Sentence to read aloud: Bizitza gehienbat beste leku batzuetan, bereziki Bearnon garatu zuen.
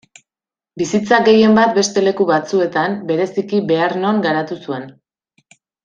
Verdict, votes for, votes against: accepted, 2, 0